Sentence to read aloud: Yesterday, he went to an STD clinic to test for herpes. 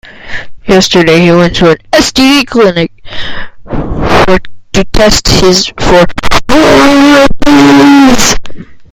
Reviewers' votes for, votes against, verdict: 0, 2, rejected